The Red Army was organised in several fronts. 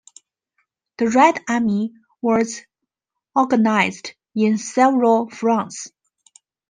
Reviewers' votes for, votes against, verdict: 2, 0, accepted